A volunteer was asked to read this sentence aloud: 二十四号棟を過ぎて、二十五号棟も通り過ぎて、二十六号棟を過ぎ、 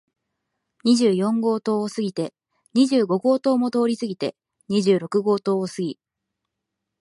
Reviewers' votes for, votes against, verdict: 2, 0, accepted